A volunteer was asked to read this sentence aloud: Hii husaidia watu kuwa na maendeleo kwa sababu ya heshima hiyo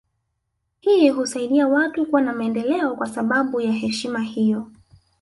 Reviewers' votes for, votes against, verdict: 1, 2, rejected